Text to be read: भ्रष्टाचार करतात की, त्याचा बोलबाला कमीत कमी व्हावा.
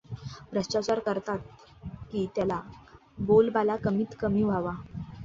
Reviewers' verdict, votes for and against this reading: rejected, 0, 2